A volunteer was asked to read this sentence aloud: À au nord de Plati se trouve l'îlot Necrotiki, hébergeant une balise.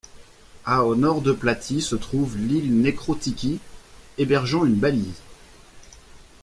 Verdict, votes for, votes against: rejected, 1, 2